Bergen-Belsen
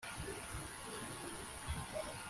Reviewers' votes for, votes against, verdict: 1, 2, rejected